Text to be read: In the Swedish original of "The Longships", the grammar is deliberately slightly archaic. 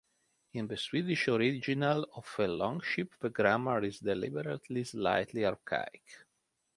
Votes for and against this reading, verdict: 2, 3, rejected